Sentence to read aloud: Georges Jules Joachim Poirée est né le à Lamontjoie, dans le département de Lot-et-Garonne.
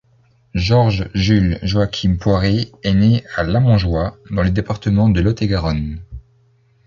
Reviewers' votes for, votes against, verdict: 0, 2, rejected